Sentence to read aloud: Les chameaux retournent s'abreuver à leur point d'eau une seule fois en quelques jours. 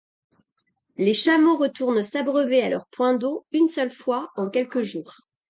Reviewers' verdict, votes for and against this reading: accepted, 2, 0